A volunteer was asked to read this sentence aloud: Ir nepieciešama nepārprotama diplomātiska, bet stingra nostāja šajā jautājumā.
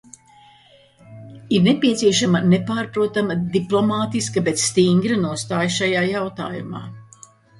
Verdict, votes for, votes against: accepted, 2, 0